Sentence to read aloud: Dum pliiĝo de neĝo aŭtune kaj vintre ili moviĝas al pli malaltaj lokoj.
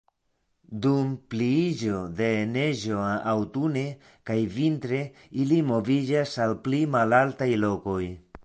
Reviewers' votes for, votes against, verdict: 2, 0, accepted